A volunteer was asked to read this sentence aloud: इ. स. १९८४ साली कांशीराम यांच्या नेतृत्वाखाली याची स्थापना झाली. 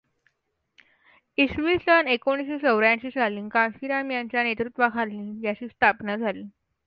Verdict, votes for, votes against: rejected, 0, 2